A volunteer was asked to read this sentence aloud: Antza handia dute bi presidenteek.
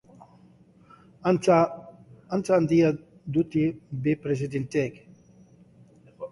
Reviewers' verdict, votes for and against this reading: rejected, 0, 3